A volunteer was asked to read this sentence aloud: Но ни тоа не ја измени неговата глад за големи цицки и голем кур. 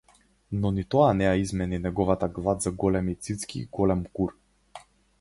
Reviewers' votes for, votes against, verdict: 4, 0, accepted